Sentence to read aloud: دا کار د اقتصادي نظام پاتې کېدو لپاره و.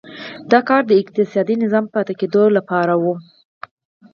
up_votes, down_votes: 4, 2